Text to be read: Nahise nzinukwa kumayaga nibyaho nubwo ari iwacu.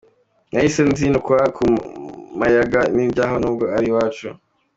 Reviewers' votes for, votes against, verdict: 0, 2, rejected